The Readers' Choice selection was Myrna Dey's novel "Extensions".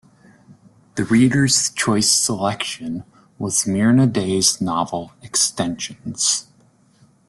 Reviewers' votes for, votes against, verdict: 2, 0, accepted